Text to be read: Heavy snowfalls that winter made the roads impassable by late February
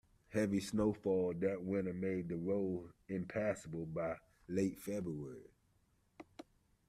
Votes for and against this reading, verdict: 0, 2, rejected